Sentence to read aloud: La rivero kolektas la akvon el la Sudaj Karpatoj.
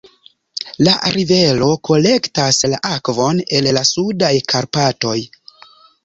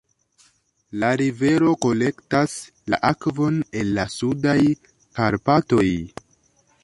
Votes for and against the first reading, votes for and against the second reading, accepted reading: 1, 2, 2, 0, second